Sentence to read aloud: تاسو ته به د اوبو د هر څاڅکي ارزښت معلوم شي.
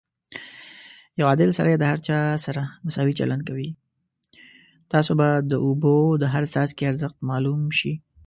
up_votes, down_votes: 1, 2